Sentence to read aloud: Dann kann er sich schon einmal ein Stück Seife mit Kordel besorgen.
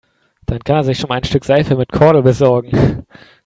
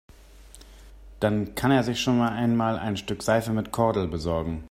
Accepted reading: first